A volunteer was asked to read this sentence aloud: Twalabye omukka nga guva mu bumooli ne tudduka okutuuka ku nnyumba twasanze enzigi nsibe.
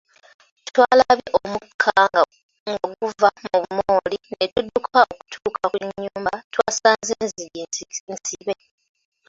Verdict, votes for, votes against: rejected, 0, 2